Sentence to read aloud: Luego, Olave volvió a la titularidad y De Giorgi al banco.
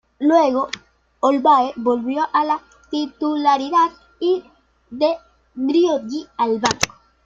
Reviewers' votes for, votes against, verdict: 1, 2, rejected